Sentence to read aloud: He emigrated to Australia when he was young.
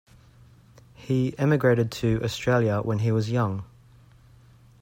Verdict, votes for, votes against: accepted, 2, 0